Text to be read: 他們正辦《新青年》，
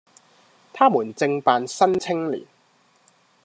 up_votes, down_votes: 2, 1